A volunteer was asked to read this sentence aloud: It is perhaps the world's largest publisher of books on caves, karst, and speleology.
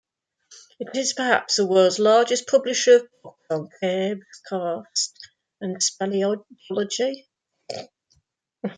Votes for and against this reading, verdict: 1, 2, rejected